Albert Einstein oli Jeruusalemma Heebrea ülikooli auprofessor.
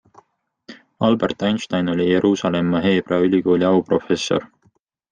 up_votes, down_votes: 2, 0